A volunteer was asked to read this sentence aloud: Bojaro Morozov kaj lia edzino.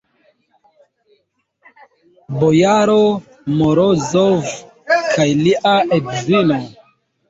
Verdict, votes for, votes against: rejected, 0, 2